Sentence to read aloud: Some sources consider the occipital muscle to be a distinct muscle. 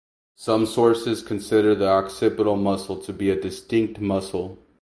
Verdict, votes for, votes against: accepted, 8, 4